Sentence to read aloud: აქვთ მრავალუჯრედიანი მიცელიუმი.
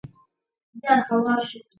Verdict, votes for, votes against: rejected, 0, 3